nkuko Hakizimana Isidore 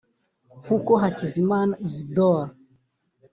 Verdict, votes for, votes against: rejected, 0, 2